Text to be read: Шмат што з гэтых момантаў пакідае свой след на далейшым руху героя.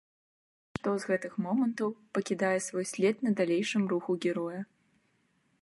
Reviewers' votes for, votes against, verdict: 1, 3, rejected